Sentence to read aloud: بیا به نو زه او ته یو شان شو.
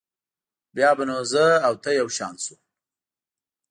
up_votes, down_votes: 2, 0